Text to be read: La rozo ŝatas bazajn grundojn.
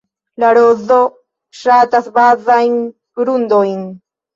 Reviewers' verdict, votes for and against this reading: accepted, 2, 0